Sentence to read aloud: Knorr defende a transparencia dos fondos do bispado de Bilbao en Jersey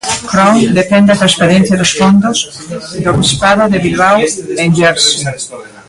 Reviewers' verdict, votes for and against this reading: rejected, 0, 2